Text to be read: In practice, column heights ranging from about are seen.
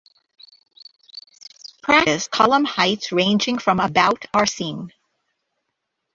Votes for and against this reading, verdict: 1, 2, rejected